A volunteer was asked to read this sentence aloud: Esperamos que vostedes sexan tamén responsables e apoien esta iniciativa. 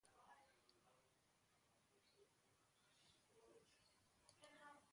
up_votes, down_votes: 0, 2